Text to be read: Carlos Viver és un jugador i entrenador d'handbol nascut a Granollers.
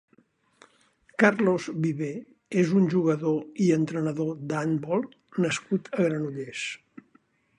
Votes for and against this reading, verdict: 2, 0, accepted